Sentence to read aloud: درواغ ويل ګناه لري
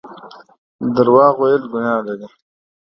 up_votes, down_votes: 2, 0